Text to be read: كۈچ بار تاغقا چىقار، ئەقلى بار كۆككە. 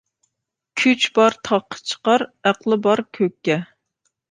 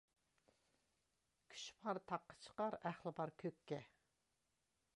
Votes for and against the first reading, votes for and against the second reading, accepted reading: 2, 0, 1, 2, first